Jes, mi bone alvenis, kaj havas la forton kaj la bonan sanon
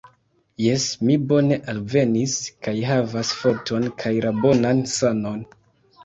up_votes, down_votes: 1, 2